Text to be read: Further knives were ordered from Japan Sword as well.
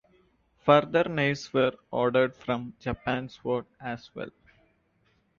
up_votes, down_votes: 2, 1